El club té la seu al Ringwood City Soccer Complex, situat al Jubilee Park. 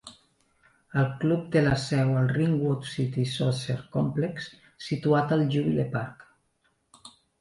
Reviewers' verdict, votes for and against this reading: rejected, 0, 2